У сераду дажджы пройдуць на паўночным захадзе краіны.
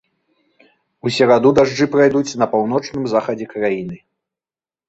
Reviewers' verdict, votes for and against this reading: rejected, 1, 2